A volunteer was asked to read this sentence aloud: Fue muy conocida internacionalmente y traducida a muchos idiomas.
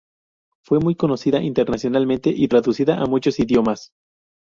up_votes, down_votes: 2, 2